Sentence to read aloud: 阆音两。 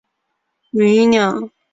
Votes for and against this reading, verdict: 0, 2, rejected